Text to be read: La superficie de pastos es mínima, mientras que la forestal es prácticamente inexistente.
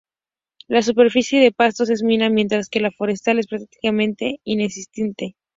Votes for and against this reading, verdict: 0, 2, rejected